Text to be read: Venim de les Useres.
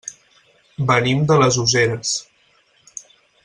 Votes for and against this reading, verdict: 4, 0, accepted